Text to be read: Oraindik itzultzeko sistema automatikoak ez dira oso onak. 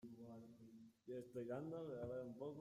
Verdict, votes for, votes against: rejected, 0, 2